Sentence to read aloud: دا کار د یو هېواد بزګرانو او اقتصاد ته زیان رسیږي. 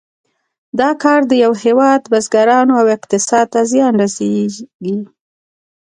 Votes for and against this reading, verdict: 2, 0, accepted